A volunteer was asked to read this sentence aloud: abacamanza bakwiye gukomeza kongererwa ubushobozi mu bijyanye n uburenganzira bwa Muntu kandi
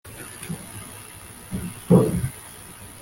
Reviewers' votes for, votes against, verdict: 0, 2, rejected